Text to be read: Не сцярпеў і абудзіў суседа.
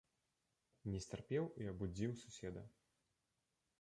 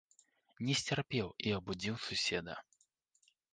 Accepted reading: second